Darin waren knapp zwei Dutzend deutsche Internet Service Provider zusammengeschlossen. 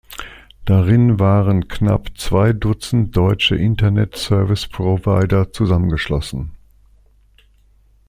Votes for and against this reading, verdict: 2, 0, accepted